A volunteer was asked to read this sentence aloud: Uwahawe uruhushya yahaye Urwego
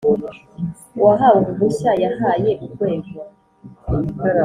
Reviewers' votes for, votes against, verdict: 3, 0, accepted